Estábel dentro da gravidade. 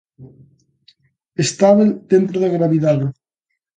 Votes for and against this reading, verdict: 2, 0, accepted